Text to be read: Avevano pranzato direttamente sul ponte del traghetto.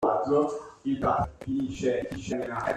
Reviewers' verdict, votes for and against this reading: rejected, 0, 2